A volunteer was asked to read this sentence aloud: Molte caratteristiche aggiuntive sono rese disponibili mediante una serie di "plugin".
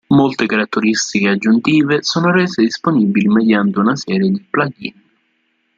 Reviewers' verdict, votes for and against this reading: rejected, 1, 2